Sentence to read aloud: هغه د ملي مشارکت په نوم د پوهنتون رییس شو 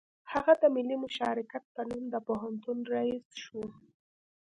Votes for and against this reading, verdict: 2, 0, accepted